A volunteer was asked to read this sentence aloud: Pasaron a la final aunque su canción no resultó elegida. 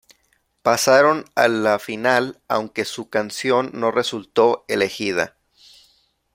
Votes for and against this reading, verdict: 2, 0, accepted